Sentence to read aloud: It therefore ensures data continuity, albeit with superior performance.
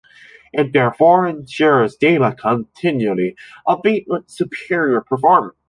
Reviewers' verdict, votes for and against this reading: rejected, 0, 2